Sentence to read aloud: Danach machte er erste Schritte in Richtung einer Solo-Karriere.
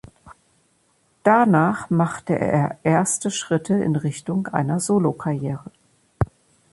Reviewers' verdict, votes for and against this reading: accepted, 2, 0